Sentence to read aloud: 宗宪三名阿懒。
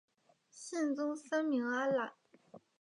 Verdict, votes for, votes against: accepted, 3, 1